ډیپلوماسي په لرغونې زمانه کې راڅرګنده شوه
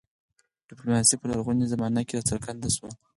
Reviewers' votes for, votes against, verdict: 2, 4, rejected